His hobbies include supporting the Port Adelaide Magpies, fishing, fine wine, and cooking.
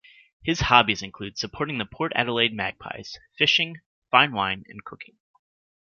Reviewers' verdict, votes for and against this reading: accepted, 2, 0